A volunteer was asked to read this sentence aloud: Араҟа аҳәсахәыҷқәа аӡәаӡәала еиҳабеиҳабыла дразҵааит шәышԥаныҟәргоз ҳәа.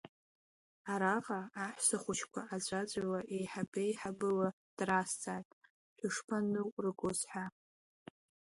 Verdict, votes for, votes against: accepted, 3, 0